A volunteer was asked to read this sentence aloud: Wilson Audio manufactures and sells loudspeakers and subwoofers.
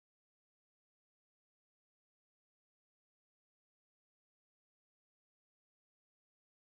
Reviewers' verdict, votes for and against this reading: rejected, 0, 2